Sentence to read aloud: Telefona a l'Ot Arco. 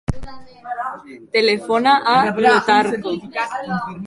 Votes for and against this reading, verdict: 0, 3, rejected